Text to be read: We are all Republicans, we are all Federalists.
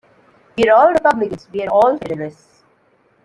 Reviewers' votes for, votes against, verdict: 1, 2, rejected